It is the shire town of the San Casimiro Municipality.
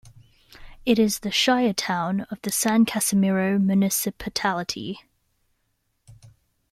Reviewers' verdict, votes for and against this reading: rejected, 0, 2